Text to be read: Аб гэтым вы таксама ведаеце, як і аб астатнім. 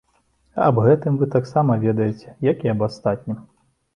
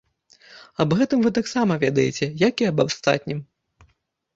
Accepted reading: first